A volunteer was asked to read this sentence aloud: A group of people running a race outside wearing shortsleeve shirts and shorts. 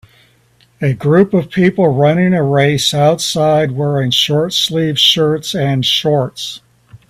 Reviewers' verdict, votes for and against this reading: accepted, 4, 0